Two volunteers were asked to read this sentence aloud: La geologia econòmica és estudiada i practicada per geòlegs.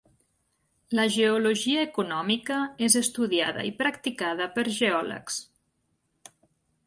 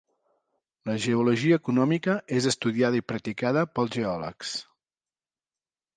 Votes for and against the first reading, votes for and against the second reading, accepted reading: 3, 0, 1, 2, first